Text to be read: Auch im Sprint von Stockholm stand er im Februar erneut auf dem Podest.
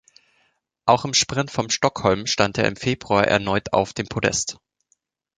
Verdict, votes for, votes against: rejected, 1, 2